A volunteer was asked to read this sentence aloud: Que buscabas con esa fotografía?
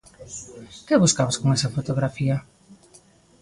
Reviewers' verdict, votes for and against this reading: accepted, 2, 0